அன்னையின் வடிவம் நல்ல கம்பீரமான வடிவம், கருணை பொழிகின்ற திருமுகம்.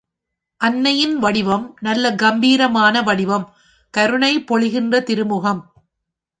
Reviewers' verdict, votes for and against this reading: accepted, 2, 0